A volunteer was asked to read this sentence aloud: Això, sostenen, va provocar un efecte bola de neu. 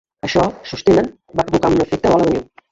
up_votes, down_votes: 0, 2